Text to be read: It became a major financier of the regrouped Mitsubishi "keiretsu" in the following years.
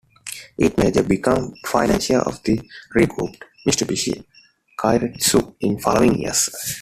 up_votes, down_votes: 0, 2